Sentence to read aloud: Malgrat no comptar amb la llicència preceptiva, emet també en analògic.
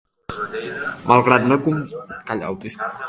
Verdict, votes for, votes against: rejected, 0, 2